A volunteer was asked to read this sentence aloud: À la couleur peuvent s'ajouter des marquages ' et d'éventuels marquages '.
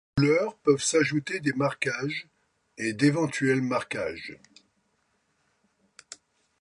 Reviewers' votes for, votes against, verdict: 0, 2, rejected